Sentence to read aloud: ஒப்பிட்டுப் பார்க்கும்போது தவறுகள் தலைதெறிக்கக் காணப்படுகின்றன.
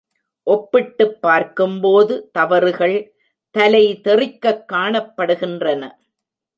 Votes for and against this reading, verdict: 2, 1, accepted